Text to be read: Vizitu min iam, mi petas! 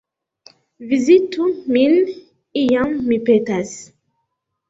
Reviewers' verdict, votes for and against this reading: accepted, 2, 1